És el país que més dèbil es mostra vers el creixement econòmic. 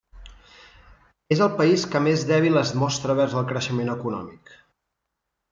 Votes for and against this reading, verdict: 2, 0, accepted